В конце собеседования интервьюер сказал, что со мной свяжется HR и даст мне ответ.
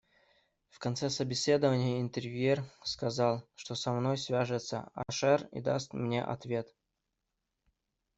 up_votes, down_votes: 0, 2